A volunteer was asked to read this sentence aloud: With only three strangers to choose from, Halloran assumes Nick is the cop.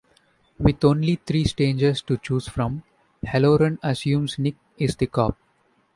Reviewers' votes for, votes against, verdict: 2, 0, accepted